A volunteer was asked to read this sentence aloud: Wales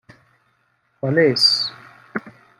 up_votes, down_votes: 1, 2